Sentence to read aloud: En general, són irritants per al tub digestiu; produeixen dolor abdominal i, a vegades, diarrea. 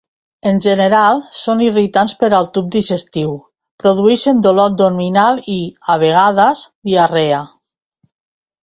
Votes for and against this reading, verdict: 2, 0, accepted